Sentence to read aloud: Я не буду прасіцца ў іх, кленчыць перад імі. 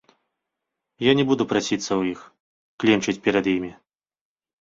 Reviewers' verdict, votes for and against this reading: accepted, 2, 1